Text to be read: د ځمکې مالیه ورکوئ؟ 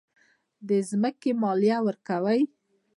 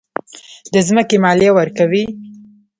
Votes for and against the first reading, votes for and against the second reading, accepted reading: 1, 2, 2, 0, second